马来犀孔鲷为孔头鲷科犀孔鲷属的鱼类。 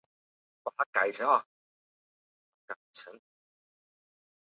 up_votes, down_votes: 0, 5